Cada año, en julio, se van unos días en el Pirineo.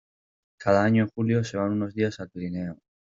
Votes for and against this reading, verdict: 2, 3, rejected